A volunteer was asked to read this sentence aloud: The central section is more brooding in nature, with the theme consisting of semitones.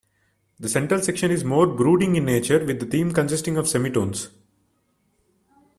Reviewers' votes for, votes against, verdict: 0, 2, rejected